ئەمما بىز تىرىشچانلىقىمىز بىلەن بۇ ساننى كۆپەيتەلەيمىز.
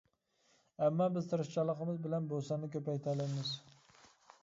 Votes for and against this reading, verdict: 1, 2, rejected